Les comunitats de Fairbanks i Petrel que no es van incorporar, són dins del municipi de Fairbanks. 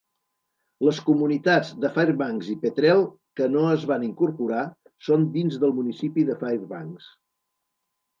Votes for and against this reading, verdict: 2, 0, accepted